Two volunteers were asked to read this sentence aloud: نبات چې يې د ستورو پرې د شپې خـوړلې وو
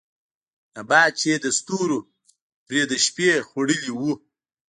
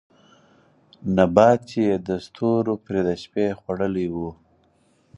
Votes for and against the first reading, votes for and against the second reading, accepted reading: 1, 2, 4, 2, second